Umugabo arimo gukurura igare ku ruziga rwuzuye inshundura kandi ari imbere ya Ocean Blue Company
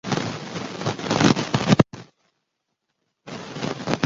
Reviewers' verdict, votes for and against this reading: rejected, 0, 2